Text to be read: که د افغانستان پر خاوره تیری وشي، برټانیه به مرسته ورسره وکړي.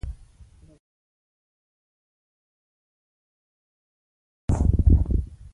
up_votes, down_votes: 1, 2